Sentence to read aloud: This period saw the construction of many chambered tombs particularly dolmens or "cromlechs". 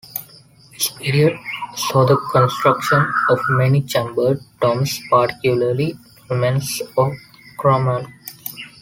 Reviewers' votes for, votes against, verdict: 1, 2, rejected